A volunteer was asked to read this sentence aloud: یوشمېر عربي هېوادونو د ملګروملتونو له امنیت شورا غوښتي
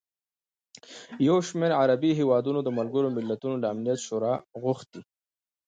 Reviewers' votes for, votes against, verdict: 2, 0, accepted